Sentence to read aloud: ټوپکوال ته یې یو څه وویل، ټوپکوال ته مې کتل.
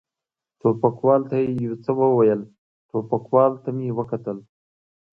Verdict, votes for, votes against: accepted, 2, 0